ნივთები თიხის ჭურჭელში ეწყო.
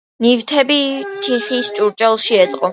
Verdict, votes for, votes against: accepted, 2, 1